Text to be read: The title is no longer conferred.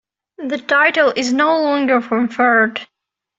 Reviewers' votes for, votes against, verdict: 2, 1, accepted